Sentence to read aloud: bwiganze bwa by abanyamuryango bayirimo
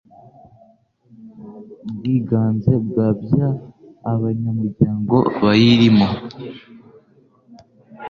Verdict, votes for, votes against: accepted, 2, 0